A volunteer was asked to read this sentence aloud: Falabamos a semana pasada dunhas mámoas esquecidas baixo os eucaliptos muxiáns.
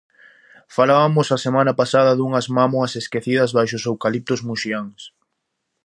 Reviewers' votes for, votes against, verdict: 2, 0, accepted